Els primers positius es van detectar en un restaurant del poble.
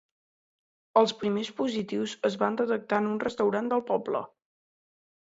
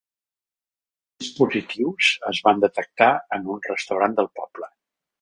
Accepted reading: first